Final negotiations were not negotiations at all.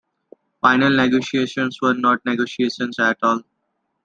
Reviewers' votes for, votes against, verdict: 2, 0, accepted